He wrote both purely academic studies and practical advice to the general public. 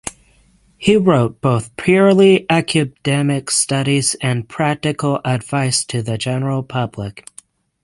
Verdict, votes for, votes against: accepted, 6, 0